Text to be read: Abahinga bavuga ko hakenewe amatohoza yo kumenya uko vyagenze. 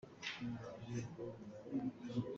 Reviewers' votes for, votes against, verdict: 0, 2, rejected